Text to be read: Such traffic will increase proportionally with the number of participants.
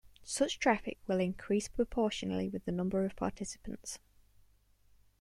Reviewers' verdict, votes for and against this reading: accepted, 2, 0